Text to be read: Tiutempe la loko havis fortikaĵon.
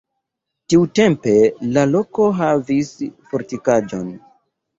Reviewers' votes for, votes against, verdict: 2, 0, accepted